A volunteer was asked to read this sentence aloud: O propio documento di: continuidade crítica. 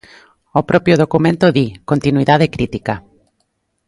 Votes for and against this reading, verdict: 2, 0, accepted